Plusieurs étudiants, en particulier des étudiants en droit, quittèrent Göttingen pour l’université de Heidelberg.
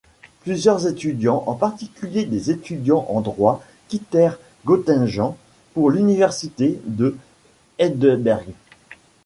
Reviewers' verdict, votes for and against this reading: rejected, 1, 2